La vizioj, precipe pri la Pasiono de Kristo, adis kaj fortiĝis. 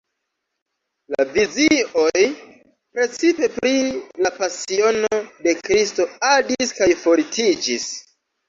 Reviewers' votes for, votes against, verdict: 0, 2, rejected